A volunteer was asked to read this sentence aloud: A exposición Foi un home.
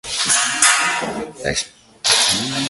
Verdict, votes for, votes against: rejected, 0, 2